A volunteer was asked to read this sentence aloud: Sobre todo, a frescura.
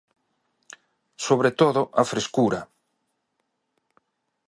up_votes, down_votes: 2, 0